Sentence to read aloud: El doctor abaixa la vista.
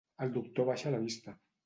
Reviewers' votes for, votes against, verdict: 2, 0, accepted